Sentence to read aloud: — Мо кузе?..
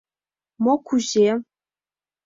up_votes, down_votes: 0, 2